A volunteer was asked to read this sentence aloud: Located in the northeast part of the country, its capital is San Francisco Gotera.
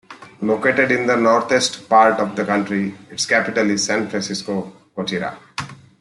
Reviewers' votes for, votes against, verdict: 2, 1, accepted